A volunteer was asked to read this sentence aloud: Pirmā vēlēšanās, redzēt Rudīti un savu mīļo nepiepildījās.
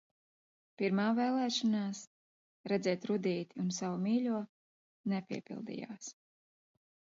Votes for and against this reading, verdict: 2, 0, accepted